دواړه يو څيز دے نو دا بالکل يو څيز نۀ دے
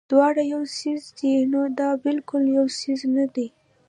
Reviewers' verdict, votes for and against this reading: rejected, 1, 2